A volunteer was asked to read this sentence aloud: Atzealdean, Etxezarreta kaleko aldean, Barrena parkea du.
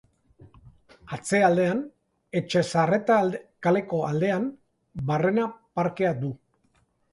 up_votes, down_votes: 1, 2